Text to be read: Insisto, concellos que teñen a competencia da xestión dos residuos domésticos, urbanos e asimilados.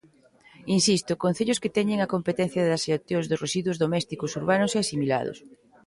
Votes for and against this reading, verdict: 0, 2, rejected